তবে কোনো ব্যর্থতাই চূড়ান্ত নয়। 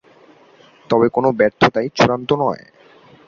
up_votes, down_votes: 2, 0